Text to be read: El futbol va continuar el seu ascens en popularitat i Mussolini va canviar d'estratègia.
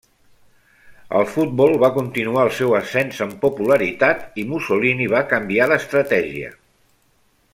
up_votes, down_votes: 0, 2